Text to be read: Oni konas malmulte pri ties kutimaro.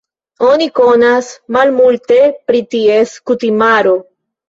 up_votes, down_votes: 3, 0